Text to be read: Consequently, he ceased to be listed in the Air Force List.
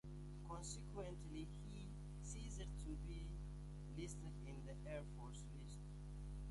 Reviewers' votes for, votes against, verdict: 0, 2, rejected